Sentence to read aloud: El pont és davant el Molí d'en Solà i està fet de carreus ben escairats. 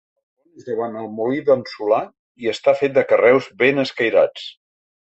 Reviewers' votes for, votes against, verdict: 1, 3, rejected